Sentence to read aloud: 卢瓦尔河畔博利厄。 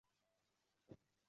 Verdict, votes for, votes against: rejected, 0, 2